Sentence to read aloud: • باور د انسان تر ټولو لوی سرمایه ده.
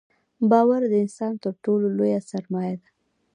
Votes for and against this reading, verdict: 2, 0, accepted